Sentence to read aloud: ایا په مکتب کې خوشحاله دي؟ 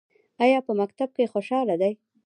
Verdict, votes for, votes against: rejected, 0, 2